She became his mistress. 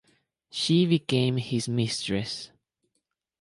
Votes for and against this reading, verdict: 4, 0, accepted